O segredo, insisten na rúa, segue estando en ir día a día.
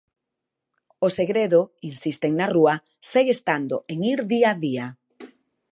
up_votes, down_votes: 2, 0